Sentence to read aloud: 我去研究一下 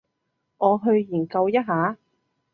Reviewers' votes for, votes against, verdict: 2, 0, accepted